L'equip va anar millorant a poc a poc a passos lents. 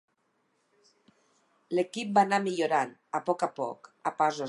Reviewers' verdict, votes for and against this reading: rejected, 0, 4